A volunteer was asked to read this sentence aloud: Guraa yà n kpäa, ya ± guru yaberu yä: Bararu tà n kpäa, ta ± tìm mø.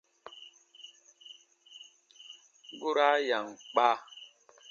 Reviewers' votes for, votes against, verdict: 0, 2, rejected